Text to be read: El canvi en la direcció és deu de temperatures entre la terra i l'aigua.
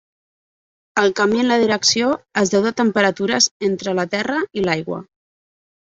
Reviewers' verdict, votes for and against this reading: accepted, 2, 0